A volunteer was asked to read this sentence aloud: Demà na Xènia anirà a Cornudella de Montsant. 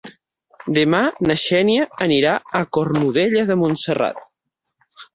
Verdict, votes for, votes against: rejected, 0, 6